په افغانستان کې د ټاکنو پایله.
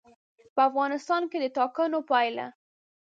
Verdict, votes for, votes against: accepted, 2, 0